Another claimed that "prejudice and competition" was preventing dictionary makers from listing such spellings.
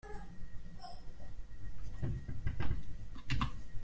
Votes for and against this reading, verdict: 0, 2, rejected